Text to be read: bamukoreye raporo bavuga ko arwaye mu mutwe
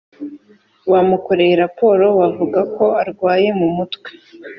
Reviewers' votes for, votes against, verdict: 2, 0, accepted